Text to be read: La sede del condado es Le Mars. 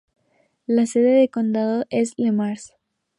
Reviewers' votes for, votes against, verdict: 2, 0, accepted